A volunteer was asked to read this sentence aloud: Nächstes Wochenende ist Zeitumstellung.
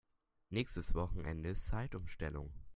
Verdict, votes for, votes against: rejected, 1, 2